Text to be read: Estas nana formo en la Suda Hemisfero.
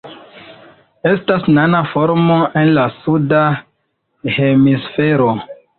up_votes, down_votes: 2, 0